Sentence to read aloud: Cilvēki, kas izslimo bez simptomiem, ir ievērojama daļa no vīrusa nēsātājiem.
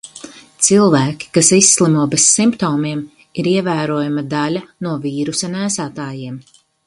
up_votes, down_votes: 4, 0